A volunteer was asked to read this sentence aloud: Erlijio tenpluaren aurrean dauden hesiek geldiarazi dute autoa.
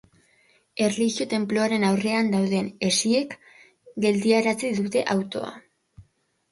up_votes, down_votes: 4, 0